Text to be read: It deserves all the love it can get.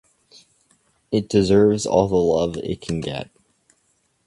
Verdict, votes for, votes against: accepted, 2, 0